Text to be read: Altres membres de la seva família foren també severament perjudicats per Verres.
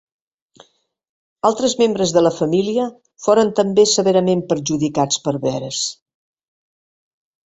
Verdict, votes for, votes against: rejected, 1, 2